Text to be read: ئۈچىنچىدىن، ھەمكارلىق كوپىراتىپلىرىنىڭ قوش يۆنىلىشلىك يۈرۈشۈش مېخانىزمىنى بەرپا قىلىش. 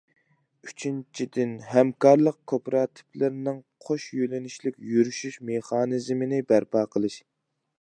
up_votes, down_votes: 2, 0